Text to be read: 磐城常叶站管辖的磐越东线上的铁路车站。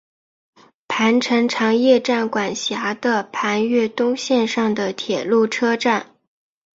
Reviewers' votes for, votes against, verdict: 2, 0, accepted